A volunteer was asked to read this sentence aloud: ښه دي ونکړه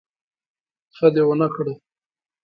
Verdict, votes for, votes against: accepted, 2, 0